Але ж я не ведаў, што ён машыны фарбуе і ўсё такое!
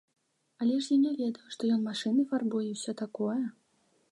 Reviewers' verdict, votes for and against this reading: accepted, 2, 0